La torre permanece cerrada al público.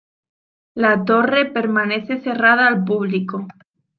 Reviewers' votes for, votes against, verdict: 2, 0, accepted